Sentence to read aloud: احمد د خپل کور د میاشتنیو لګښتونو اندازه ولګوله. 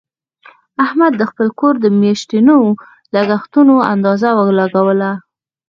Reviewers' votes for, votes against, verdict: 2, 4, rejected